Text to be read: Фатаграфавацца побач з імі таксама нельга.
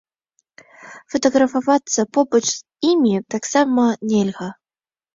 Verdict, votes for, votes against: accepted, 2, 1